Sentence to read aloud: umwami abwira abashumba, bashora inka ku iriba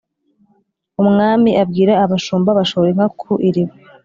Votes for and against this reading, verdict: 2, 0, accepted